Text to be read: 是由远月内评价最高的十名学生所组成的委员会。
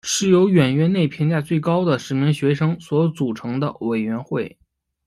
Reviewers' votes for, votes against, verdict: 1, 2, rejected